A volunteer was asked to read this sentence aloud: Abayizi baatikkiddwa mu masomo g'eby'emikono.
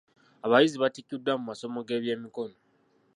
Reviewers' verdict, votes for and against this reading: accepted, 2, 0